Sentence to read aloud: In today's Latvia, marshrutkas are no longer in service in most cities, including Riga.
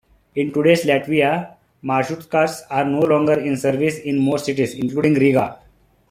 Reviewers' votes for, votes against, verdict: 2, 0, accepted